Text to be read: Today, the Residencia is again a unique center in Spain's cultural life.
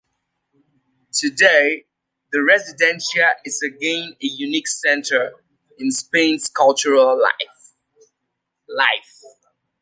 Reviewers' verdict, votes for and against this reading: rejected, 0, 2